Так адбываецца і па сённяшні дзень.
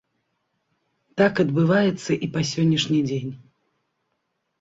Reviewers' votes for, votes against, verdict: 2, 0, accepted